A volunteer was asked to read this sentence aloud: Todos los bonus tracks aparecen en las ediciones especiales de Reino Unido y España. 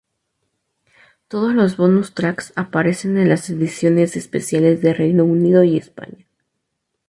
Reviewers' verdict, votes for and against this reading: accepted, 2, 0